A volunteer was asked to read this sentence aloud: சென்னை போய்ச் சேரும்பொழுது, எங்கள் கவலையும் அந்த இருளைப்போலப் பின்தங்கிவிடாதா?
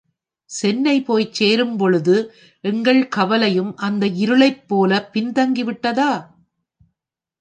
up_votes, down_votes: 0, 2